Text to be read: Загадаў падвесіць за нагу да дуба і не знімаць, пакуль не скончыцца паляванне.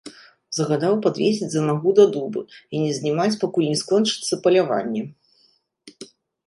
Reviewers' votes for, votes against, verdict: 2, 0, accepted